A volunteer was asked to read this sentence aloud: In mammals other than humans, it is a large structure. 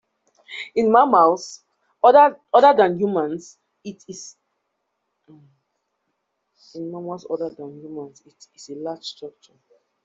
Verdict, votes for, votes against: rejected, 0, 2